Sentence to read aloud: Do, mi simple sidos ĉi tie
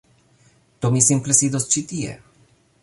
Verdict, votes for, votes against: accepted, 2, 0